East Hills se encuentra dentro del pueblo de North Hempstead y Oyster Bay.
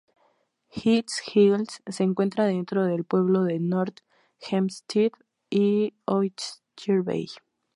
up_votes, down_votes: 2, 4